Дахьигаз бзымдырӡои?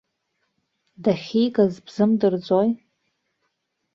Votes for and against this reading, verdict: 2, 0, accepted